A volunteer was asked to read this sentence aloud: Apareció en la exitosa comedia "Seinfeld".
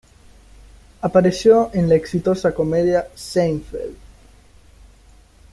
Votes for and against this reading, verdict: 1, 2, rejected